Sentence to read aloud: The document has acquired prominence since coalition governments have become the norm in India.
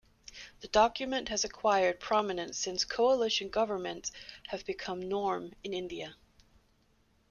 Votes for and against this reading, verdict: 0, 2, rejected